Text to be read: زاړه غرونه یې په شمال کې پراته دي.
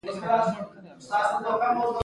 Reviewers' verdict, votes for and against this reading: accepted, 3, 0